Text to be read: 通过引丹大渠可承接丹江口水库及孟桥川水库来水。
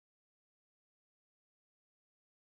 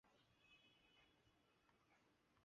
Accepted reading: first